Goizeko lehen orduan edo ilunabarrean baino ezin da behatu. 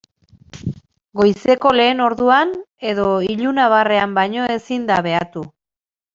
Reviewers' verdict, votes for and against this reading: accepted, 2, 0